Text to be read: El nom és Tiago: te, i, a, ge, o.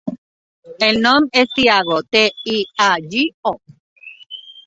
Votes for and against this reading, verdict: 1, 2, rejected